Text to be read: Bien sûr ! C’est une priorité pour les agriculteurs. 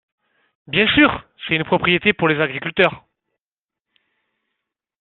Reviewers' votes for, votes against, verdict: 0, 2, rejected